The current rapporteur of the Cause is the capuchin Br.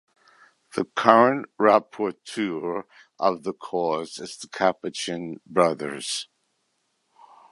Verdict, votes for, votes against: rejected, 2, 3